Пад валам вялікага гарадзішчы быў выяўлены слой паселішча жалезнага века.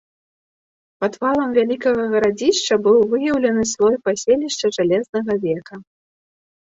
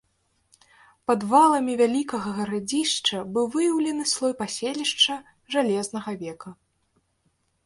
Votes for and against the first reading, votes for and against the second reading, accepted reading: 3, 0, 0, 2, first